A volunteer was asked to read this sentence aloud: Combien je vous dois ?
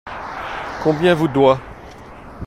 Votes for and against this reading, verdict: 0, 2, rejected